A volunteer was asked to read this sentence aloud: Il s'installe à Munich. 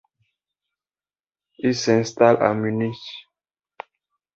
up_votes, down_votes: 2, 0